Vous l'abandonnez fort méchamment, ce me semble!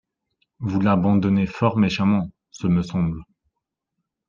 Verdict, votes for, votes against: accepted, 2, 0